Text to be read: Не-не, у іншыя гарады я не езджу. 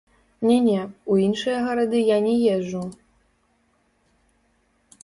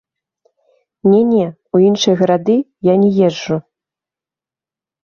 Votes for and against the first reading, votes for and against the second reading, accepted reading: 0, 2, 2, 0, second